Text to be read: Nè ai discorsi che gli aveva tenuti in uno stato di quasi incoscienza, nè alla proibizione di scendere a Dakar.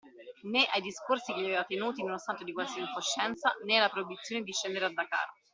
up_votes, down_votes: 0, 2